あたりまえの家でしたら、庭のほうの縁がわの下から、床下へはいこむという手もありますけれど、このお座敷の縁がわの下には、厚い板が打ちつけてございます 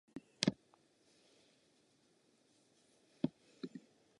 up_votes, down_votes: 0, 3